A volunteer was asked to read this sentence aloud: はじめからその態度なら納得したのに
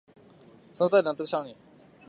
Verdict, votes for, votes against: rejected, 0, 2